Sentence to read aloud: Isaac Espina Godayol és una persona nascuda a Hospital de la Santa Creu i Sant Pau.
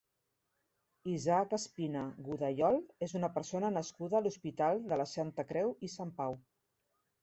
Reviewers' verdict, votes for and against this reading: rejected, 0, 2